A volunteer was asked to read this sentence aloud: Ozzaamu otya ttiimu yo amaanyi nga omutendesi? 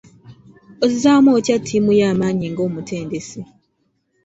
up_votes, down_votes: 2, 0